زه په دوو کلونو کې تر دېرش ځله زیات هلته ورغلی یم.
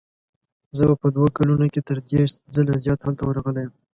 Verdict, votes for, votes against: accepted, 2, 0